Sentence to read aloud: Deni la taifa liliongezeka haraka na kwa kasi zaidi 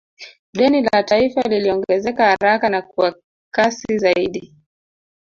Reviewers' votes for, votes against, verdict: 1, 2, rejected